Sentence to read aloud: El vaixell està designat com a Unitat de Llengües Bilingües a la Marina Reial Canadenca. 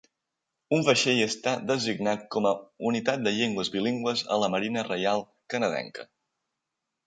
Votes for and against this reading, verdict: 0, 2, rejected